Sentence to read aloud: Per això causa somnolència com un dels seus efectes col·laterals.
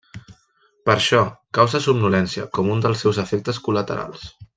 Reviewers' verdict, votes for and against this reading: accepted, 2, 1